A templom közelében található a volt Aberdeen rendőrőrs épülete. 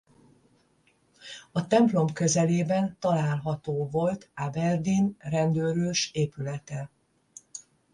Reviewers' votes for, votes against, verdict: 5, 10, rejected